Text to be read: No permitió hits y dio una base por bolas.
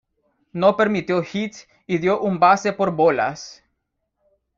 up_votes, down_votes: 0, 2